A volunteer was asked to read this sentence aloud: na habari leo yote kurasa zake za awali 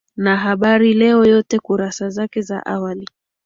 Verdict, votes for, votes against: rejected, 0, 2